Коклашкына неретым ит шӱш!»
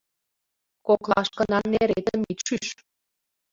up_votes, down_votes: 1, 2